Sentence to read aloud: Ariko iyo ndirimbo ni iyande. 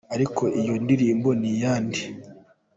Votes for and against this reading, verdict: 2, 0, accepted